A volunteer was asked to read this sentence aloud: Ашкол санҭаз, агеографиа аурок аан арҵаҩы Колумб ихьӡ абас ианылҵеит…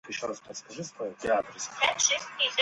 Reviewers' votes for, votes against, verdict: 0, 2, rejected